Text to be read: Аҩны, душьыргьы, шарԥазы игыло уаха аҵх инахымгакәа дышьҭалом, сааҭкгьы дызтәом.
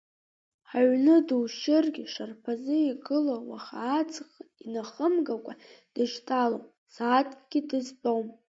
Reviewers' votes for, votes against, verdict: 1, 2, rejected